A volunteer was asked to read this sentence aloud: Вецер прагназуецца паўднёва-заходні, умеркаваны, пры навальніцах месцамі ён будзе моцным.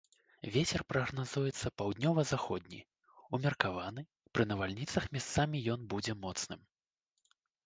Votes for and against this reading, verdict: 1, 2, rejected